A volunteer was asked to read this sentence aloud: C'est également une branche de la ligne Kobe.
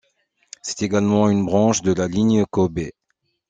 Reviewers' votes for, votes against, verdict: 2, 0, accepted